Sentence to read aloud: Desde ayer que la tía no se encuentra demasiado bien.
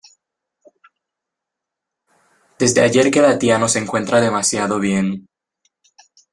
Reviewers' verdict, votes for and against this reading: accepted, 2, 0